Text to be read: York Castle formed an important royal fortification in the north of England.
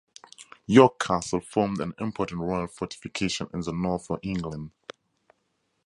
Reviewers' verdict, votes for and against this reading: accepted, 2, 0